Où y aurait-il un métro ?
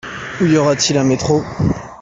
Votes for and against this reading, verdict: 0, 2, rejected